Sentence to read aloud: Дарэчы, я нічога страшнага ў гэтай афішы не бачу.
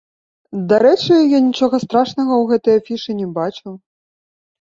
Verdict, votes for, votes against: accepted, 2, 1